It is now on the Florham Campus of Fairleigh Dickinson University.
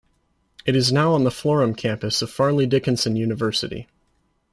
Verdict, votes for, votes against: accepted, 2, 0